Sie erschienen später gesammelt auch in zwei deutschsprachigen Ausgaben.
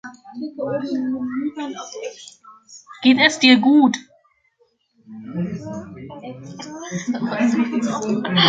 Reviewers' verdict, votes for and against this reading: rejected, 0, 3